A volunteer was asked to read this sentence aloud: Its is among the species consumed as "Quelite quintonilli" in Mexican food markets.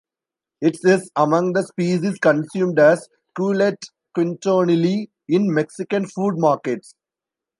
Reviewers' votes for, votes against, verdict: 1, 2, rejected